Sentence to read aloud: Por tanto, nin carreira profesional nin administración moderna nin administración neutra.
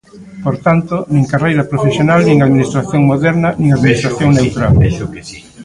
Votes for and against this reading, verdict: 0, 2, rejected